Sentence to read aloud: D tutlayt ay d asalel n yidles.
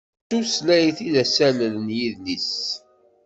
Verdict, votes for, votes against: rejected, 1, 2